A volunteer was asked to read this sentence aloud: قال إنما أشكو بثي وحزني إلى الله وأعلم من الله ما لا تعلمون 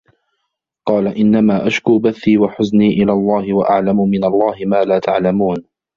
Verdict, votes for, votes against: rejected, 1, 2